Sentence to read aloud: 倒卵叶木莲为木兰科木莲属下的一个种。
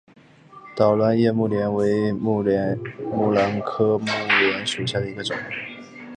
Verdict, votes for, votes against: accepted, 3, 1